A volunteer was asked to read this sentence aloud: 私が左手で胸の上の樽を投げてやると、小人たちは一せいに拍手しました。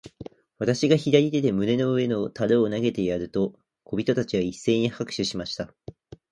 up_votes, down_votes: 2, 0